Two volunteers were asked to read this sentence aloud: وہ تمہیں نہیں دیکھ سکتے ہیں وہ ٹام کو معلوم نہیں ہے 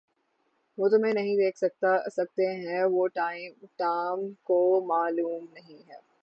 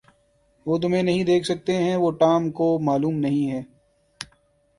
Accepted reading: second